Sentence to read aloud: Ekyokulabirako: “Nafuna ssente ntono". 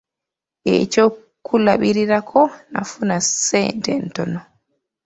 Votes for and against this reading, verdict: 2, 0, accepted